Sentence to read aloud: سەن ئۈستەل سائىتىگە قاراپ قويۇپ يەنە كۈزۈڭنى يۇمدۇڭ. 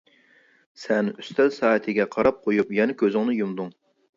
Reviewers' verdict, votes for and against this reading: accepted, 3, 0